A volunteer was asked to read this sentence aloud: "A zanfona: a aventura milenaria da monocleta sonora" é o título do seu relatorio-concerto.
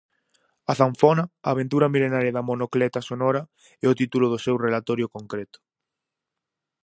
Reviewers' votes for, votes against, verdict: 0, 4, rejected